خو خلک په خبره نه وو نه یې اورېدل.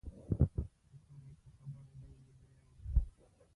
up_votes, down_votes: 0, 2